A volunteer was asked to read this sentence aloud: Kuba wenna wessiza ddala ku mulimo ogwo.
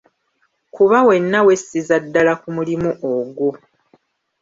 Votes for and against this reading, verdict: 2, 0, accepted